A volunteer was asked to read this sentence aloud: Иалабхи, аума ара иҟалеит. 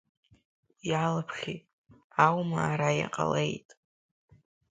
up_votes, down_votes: 2, 1